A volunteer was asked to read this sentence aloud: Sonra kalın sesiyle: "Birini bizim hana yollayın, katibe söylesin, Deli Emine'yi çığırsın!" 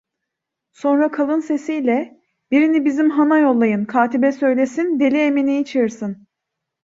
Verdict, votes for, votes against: rejected, 1, 2